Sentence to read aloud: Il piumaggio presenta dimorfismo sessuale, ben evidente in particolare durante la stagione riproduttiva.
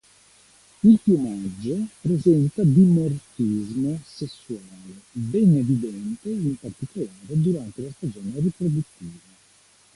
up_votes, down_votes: 0, 2